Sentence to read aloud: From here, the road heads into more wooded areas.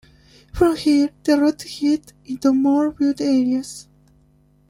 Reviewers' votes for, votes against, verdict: 0, 2, rejected